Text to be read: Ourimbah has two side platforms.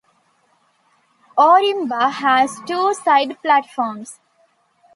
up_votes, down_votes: 2, 0